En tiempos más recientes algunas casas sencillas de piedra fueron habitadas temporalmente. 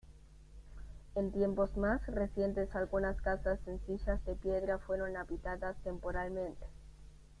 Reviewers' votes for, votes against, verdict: 2, 0, accepted